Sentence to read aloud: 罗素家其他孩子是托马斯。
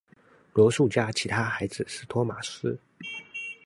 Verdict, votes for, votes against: accepted, 2, 0